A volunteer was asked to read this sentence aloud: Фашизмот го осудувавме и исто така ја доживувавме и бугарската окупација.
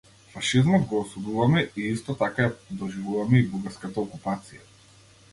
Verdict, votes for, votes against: accepted, 2, 0